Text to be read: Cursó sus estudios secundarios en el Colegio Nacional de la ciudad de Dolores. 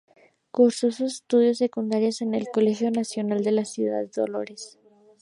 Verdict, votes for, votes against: rejected, 0, 2